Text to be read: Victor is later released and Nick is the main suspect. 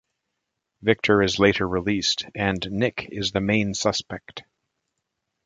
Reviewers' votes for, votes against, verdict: 2, 0, accepted